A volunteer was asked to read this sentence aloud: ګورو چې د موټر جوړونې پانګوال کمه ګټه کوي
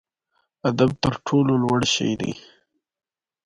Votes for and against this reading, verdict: 0, 2, rejected